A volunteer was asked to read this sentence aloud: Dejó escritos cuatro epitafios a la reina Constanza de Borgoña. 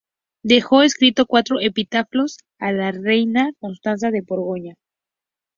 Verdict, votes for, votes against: accepted, 2, 0